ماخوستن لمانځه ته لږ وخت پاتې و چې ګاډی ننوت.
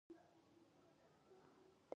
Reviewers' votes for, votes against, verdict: 0, 2, rejected